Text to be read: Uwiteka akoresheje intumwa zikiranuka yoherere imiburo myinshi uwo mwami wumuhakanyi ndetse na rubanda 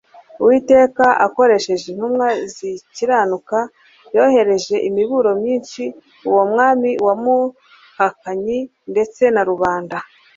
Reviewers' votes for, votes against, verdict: 1, 2, rejected